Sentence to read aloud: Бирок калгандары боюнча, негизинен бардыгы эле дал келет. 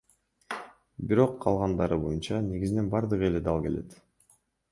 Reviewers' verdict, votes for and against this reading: accepted, 2, 1